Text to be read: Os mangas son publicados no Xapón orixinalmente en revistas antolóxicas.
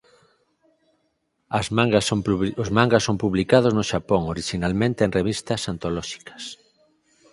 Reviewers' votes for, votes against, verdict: 0, 4, rejected